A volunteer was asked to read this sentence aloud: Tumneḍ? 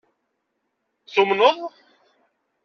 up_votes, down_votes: 2, 0